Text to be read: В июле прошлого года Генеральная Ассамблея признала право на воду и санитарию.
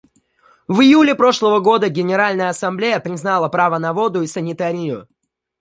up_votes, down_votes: 1, 2